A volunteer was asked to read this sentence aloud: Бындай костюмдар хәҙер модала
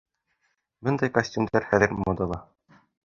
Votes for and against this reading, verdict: 2, 1, accepted